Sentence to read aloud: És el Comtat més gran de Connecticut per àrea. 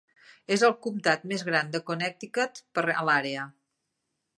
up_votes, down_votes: 0, 2